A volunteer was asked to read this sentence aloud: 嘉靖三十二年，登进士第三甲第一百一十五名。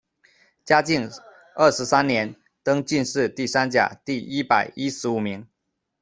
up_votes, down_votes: 0, 2